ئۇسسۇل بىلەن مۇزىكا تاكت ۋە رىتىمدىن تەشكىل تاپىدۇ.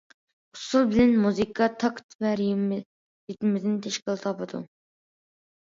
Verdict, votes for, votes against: rejected, 0, 2